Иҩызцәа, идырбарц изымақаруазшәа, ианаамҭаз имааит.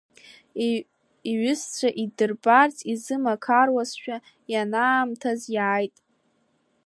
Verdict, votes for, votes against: rejected, 2, 3